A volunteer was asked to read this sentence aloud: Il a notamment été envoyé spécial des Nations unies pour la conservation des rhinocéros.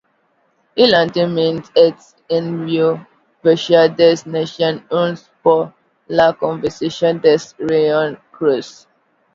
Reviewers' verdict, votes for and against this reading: rejected, 0, 2